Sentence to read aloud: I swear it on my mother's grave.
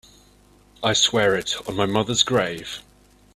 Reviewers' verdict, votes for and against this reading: accepted, 3, 0